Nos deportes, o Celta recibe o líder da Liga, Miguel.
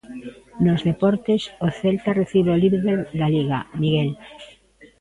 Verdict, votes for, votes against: rejected, 1, 2